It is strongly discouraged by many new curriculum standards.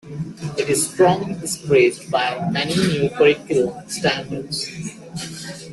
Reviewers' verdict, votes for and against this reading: rejected, 0, 2